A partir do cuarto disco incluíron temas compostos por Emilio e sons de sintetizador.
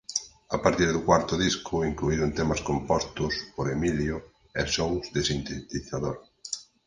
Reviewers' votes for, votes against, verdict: 2, 8, rejected